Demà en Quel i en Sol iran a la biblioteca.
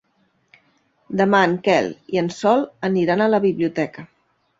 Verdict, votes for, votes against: rejected, 1, 2